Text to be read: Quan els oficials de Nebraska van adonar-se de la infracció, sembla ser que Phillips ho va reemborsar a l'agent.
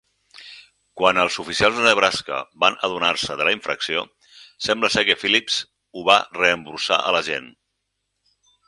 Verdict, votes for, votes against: rejected, 6, 8